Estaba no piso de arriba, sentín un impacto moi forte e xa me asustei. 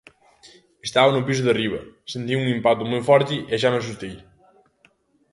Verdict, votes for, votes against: accepted, 2, 0